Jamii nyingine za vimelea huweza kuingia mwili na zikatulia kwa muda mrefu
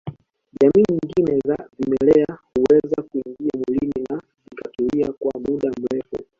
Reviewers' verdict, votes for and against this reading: rejected, 0, 2